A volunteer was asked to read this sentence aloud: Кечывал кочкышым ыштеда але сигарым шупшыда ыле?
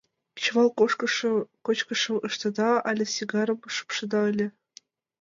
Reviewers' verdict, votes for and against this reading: rejected, 1, 2